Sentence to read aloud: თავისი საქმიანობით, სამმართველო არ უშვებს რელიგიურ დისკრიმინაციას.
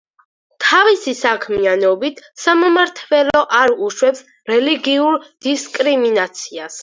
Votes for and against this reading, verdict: 2, 4, rejected